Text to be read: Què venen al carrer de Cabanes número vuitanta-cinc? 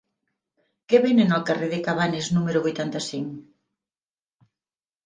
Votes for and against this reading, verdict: 3, 0, accepted